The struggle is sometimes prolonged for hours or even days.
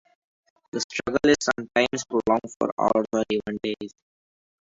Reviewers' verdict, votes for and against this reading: rejected, 2, 4